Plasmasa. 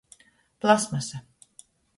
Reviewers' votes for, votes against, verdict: 2, 0, accepted